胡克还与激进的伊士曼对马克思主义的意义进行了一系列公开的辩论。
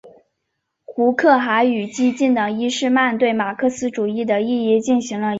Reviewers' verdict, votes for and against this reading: rejected, 2, 3